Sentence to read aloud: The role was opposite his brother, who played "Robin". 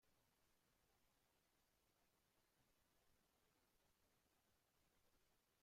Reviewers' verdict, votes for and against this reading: rejected, 0, 2